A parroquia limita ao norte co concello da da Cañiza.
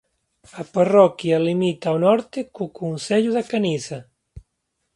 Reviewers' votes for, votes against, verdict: 0, 2, rejected